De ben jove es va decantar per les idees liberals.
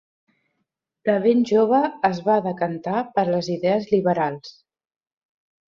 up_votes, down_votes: 2, 0